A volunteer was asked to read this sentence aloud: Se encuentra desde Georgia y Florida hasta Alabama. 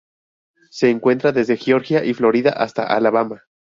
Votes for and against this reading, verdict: 0, 2, rejected